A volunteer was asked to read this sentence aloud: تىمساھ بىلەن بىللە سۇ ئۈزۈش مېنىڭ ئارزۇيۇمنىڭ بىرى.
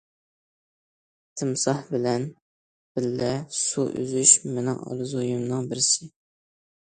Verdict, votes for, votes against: accepted, 2, 1